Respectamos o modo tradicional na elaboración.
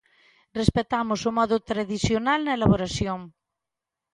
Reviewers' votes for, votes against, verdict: 2, 0, accepted